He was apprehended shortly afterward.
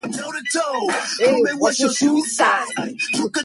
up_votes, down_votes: 0, 2